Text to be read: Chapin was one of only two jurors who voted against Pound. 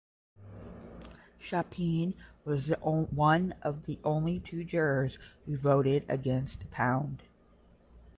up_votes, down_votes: 5, 5